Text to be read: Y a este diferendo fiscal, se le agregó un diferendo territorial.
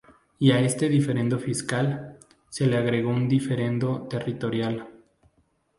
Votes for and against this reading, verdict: 2, 0, accepted